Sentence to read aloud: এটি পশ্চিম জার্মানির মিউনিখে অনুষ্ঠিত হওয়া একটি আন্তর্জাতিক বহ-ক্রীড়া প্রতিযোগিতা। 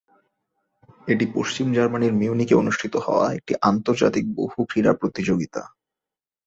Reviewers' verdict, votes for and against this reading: rejected, 0, 2